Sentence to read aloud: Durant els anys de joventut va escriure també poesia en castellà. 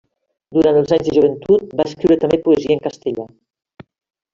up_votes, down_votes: 0, 2